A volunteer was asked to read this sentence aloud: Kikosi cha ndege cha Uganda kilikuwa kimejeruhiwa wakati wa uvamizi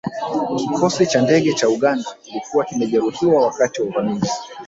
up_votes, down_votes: 1, 2